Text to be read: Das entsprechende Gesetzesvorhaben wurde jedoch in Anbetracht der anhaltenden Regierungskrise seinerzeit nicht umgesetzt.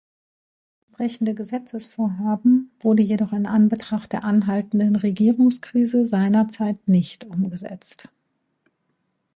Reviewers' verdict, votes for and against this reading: rejected, 0, 2